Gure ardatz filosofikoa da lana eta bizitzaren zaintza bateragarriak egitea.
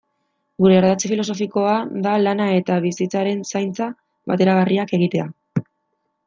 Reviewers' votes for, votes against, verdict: 2, 0, accepted